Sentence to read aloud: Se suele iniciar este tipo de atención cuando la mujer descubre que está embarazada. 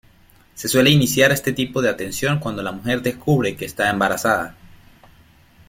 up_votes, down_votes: 2, 1